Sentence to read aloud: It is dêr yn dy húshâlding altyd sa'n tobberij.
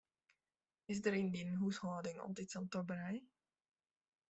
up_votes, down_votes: 1, 2